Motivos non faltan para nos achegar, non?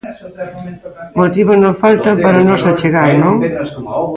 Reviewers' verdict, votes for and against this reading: rejected, 0, 2